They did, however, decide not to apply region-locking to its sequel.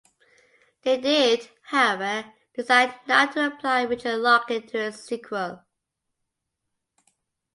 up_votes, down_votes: 2, 0